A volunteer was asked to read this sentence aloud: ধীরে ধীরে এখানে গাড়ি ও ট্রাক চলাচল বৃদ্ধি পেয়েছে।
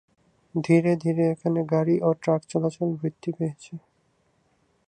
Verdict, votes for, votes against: accepted, 2, 0